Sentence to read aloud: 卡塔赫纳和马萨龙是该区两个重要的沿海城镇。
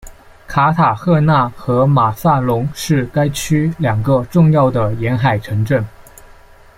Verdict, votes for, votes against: accepted, 2, 0